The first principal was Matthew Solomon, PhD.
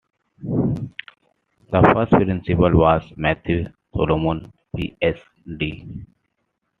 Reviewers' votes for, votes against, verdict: 2, 1, accepted